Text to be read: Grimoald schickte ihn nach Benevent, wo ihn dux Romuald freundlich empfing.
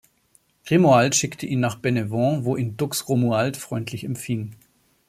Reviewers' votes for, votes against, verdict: 2, 0, accepted